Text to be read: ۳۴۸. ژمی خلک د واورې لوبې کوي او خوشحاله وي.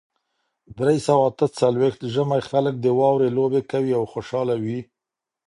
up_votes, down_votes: 0, 2